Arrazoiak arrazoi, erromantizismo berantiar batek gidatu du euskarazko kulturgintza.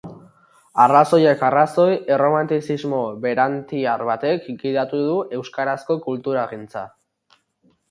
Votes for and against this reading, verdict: 0, 2, rejected